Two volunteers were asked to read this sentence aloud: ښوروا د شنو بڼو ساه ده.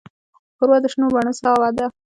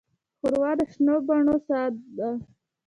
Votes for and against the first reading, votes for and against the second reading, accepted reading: 0, 2, 2, 0, second